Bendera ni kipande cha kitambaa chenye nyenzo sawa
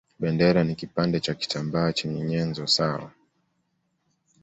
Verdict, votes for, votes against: accepted, 2, 0